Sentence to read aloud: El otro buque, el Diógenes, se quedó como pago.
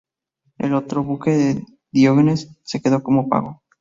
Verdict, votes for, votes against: accepted, 2, 0